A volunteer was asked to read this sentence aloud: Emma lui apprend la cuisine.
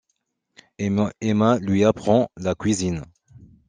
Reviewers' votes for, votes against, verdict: 0, 2, rejected